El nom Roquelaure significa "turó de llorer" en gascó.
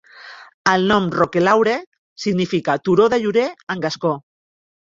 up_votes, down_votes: 3, 1